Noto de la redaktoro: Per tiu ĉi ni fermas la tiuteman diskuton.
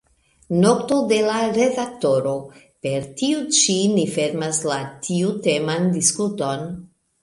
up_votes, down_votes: 2, 1